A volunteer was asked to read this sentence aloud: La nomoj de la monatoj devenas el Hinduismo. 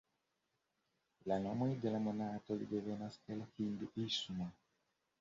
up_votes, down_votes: 1, 2